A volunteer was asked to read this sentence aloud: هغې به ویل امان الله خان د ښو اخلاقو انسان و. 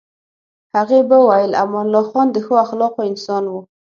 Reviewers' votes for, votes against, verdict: 6, 0, accepted